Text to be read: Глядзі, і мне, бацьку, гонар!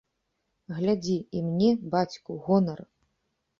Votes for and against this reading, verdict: 3, 0, accepted